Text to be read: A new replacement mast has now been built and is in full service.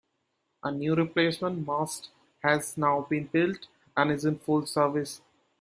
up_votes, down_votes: 2, 0